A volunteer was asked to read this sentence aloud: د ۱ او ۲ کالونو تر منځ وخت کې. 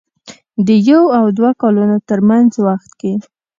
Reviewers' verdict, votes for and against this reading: rejected, 0, 2